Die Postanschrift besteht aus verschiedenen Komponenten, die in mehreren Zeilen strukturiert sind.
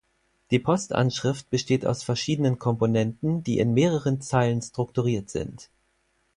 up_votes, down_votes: 2, 4